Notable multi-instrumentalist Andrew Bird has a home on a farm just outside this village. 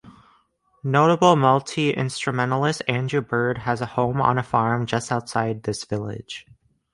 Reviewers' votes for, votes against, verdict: 2, 0, accepted